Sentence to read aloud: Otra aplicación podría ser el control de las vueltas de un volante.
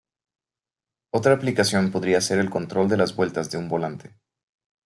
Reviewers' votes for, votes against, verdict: 2, 0, accepted